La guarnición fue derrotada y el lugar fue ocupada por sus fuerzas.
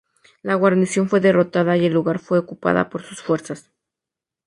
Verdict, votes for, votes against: accepted, 2, 0